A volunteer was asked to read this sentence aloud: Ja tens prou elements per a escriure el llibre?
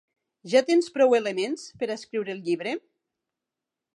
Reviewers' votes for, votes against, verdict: 4, 0, accepted